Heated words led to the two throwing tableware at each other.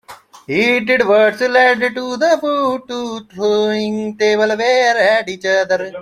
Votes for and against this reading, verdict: 0, 2, rejected